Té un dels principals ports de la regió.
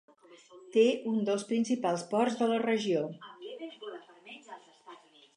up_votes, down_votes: 4, 0